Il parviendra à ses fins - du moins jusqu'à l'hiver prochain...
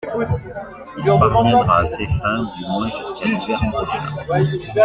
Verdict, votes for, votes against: accepted, 2, 0